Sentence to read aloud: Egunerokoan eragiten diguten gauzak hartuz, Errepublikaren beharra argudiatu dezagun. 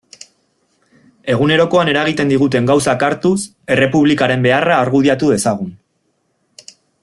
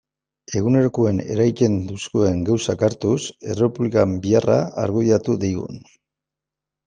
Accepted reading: first